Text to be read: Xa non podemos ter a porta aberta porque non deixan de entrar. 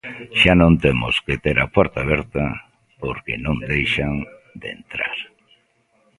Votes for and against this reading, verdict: 0, 2, rejected